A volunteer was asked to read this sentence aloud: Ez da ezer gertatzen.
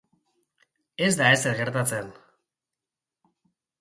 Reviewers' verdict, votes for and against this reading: accepted, 3, 0